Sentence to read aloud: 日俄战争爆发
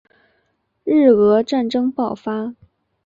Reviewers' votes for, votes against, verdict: 2, 1, accepted